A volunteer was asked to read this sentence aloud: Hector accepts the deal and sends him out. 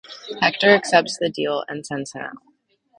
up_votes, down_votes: 2, 0